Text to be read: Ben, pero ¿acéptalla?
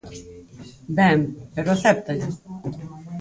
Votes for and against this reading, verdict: 0, 4, rejected